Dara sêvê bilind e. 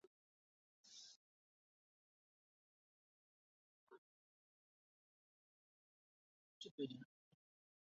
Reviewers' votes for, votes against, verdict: 0, 2, rejected